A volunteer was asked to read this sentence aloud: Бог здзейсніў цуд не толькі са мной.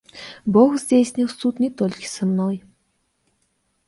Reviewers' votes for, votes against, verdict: 2, 0, accepted